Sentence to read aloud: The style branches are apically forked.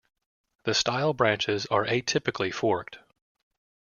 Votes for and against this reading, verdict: 0, 2, rejected